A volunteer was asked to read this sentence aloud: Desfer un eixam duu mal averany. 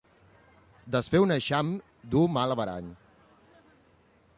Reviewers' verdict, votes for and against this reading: accepted, 2, 0